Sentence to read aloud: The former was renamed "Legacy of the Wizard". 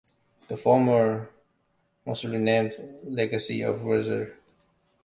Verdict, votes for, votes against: rejected, 1, 3